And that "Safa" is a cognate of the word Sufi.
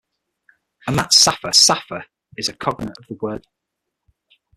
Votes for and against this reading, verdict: 0, 6, rejected